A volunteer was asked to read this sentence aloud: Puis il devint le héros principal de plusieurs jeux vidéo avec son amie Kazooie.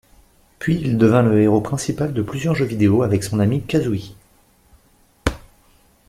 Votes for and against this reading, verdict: 2, 0, accepted